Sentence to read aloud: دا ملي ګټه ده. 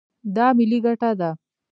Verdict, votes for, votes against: rejected, 0, 2